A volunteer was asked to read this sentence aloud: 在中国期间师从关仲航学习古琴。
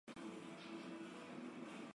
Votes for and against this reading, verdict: 1, 4, rejected